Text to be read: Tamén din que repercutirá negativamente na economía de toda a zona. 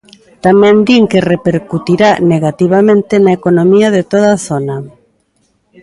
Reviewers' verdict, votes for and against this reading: rejected, 0, 2